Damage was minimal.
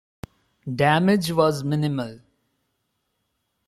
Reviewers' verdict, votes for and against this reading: accepted, 2, 1